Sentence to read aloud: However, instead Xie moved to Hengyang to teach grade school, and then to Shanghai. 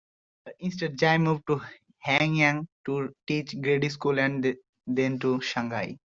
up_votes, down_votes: 0, 2